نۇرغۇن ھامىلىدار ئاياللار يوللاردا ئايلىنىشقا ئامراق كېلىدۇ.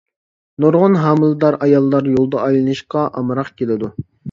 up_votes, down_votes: 1, 2